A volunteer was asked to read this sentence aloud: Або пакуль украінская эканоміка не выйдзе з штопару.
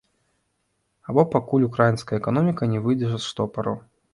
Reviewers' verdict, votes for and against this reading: rejected, 1, 2